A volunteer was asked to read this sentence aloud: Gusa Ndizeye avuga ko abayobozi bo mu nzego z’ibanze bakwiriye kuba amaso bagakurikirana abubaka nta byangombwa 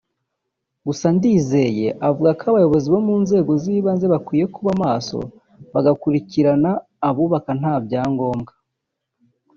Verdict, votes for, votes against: rejected, 1, 2